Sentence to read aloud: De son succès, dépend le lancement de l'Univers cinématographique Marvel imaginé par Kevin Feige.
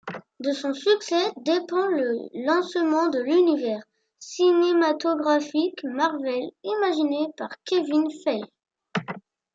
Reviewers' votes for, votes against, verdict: 1, 2, rejected